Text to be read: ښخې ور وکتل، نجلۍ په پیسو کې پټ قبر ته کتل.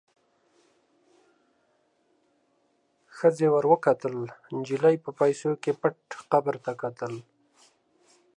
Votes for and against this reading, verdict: 2, 0, accepted